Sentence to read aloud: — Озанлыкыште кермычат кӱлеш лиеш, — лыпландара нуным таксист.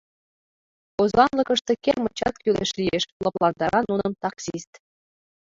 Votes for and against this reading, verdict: 1, 3, rejected